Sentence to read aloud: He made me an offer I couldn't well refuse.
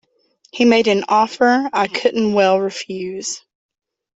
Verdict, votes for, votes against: rejected, 0, 2